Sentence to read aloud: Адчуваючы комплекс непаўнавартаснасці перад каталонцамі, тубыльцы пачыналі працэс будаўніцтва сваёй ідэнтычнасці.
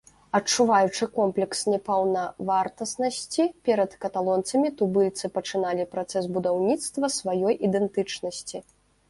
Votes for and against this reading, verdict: 2, 0, accepted